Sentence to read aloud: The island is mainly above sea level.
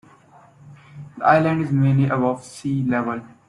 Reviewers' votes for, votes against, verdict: 0, 2, rejected